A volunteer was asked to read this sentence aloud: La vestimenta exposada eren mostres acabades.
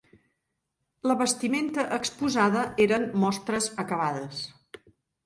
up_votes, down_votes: 3, 0